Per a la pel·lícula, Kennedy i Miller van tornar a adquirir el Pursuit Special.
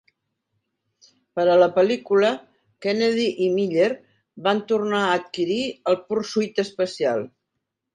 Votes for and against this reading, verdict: 1, 2, rejected